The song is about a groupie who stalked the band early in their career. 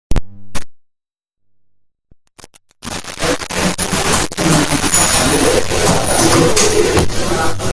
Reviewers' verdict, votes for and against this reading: rejected, 0, 2